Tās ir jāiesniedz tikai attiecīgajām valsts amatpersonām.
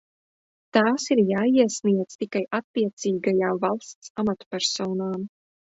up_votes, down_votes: 2, 0